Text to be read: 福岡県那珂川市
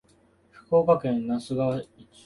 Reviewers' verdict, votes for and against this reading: rejected, 1, 2